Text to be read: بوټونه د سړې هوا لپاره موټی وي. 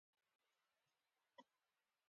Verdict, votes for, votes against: accepted, 2, 1